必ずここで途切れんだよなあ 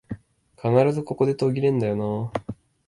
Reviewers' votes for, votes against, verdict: 2, 0, accepted